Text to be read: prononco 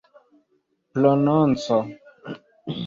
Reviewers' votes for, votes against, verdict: 1, 2, rejected